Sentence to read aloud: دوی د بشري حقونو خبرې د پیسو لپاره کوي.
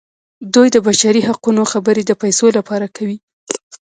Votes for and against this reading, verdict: 1, 2, rejected